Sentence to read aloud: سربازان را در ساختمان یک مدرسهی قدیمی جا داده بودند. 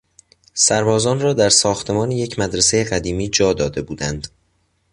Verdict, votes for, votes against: accepted, 3, 0